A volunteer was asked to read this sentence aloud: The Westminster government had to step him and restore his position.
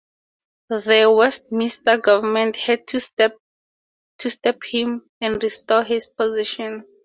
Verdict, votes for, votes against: rejected, 0, 2